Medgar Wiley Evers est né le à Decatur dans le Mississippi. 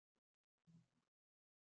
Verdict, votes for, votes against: rejected, 0, 2